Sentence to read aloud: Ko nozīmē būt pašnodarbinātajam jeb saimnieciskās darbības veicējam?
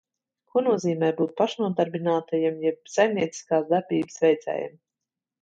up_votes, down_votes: 2, 0